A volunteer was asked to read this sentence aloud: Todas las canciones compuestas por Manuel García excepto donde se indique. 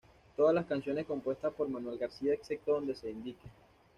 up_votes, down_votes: 2, 0